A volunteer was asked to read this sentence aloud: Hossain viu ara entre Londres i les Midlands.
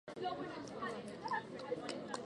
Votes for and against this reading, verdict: 2, 4, rejected